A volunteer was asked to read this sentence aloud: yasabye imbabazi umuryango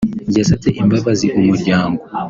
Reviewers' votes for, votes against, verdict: 3, 0, accepted